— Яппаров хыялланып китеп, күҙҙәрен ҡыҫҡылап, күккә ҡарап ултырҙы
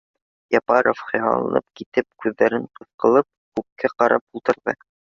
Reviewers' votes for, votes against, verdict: 1, 2, rejected